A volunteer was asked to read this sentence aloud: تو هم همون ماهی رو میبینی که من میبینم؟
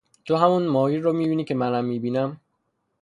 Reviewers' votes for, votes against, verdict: 3, 0, accepted